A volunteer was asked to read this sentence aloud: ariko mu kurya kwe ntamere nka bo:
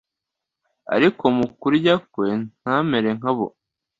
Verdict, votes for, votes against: accepted, 2, 0